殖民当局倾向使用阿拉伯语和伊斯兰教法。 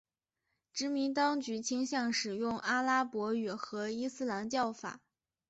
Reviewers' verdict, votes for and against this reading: accepted, 5, 1